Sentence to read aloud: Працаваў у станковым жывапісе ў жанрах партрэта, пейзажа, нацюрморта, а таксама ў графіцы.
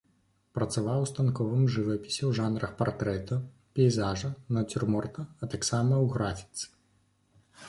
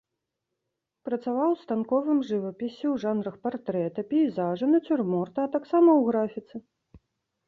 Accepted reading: first